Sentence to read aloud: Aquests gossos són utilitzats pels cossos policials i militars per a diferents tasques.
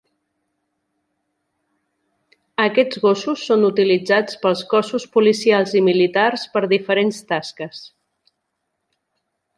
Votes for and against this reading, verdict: 2, 3, rejected